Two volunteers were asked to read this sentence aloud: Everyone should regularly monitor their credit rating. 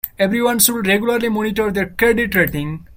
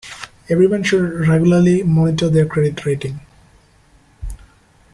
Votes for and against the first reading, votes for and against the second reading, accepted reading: 2, 1, 1, 2, first